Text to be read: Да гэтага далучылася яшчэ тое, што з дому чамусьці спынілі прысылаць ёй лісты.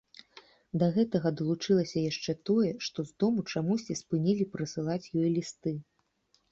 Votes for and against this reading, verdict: 2, 0, accepted